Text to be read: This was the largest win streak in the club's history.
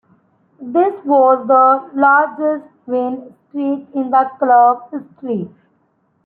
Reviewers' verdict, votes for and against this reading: rejected, 1, 2